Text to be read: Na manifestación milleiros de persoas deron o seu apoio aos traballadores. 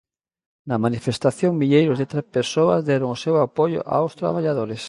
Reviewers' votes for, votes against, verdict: 0, 2, rejected